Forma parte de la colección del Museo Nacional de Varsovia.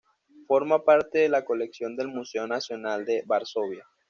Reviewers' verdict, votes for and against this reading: accepted, 2, 0